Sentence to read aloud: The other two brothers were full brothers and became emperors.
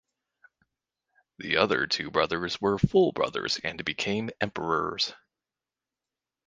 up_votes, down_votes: 4, 0